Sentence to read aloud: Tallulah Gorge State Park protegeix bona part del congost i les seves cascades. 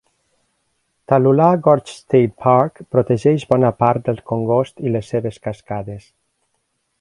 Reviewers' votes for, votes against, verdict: 3, 0, accepted